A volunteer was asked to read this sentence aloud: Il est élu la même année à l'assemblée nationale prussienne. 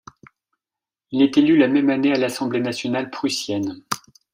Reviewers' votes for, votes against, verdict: 2, 0, accepted